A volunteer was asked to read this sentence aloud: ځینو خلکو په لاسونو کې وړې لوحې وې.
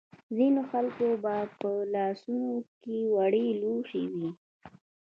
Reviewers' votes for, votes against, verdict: 1, 2, rejected